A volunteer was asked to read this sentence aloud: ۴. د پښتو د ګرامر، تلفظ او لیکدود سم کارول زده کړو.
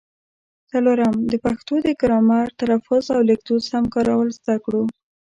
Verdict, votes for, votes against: rejected, 0, 2